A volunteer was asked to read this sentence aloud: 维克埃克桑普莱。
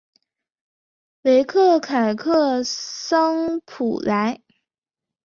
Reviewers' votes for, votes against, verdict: 2, 3, rejected